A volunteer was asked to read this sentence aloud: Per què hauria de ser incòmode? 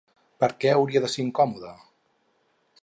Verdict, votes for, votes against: accepted, 4, 0